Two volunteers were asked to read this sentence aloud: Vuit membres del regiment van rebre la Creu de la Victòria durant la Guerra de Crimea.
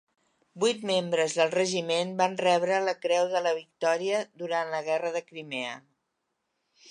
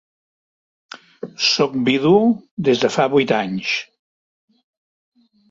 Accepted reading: first